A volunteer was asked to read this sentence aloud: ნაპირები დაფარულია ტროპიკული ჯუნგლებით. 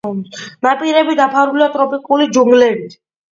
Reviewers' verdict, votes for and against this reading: accepted, 2, 0